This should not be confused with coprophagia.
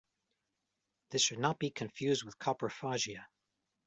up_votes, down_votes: 2, 0